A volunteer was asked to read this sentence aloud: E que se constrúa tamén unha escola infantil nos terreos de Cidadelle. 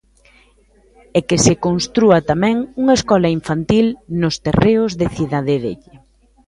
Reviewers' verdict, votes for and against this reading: accepted, 2, 1